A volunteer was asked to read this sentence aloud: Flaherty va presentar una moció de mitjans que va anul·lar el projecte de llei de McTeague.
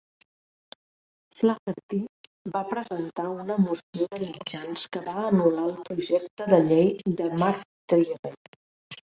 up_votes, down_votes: 1, 2